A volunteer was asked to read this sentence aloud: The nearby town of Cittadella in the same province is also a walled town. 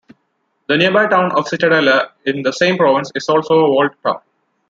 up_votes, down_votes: 0, 2